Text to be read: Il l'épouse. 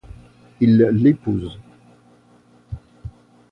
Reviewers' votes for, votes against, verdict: 3, 0, accepted